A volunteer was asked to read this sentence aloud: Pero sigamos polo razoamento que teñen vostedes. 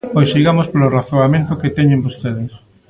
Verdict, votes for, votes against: rejected, 0, 2